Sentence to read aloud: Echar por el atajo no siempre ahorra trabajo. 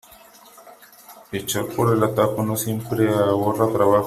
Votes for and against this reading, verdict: 2, 1, accepted